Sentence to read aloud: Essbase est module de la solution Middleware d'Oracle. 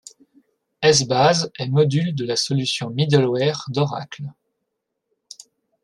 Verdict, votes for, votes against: accepted, 2, 0